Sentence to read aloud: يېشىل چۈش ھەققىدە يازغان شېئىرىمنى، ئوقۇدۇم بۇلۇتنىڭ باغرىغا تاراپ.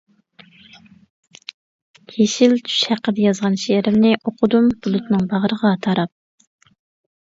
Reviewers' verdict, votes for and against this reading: accepted, 2, 0